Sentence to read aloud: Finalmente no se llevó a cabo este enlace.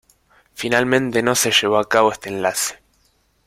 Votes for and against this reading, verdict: 2, 0, accepted